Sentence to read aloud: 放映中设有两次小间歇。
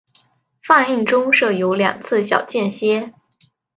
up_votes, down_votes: 2, 0